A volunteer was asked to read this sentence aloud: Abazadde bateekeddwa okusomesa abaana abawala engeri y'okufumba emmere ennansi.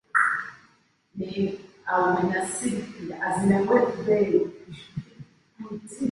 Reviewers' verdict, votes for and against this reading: rejected, 1, 2